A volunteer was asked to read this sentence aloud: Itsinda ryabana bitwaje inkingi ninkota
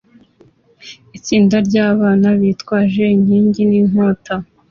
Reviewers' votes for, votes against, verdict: 2, 0, accepted